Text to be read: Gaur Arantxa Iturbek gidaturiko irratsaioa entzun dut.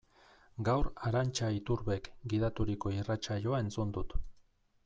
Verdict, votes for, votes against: accepted, 2, 0